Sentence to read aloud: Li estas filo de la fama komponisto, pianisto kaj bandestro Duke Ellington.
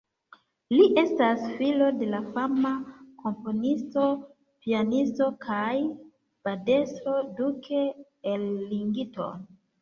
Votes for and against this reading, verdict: 0, 2, rejected